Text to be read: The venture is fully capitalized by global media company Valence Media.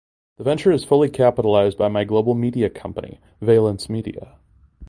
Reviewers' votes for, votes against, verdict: 1, 2, rejected